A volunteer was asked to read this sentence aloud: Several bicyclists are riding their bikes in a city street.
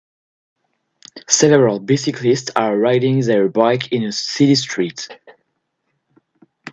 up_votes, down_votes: 1, 2